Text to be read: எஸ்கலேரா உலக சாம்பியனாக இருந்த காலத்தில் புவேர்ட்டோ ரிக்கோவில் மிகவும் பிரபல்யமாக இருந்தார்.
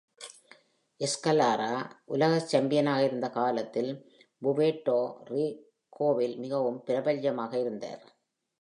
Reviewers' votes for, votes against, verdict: 2, 0, accepted